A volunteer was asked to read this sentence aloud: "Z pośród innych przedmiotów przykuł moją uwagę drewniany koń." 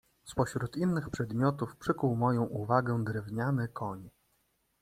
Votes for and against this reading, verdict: 2, 0, accepted